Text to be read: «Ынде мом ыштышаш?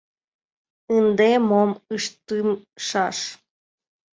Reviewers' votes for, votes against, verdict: 1, 3, rejected